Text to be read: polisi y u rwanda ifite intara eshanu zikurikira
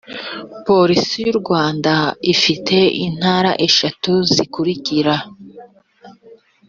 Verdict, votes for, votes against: accepted, 2, 0